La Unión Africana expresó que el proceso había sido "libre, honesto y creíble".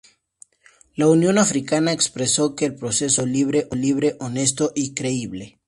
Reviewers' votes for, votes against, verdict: 0, 2, rejected